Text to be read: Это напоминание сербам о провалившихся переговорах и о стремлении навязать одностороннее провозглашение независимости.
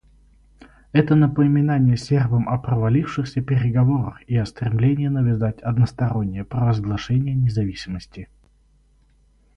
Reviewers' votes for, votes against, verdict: 0, 2, rejected